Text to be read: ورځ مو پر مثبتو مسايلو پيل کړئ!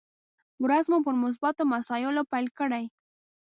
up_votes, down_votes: 1, 3